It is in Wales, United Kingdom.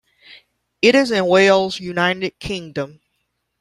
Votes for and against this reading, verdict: 2, 0, accepted